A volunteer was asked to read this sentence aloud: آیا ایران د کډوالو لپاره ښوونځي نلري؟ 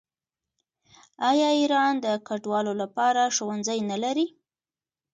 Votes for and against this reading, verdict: 2, 0, accepted